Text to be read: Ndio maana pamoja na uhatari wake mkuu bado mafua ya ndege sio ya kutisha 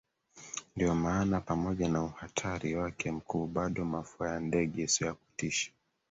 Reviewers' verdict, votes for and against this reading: accepted, 2, 1